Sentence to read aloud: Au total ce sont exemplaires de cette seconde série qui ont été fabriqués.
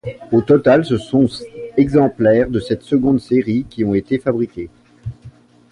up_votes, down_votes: 0, 2